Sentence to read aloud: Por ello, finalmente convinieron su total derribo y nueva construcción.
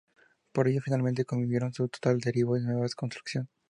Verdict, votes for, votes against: rejected, 0, 2